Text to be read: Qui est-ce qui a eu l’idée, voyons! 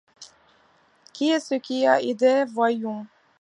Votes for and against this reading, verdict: 0, 3, rejected